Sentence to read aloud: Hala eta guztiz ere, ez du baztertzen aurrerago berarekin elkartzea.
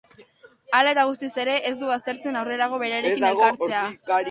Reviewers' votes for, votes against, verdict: 1, 2, rejected